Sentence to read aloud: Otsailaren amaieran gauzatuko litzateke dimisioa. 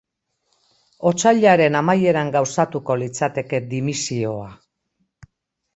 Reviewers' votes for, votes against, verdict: 2, 0, accepted